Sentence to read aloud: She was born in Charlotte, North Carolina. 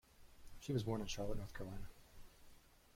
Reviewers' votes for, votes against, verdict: 1, 2, rejected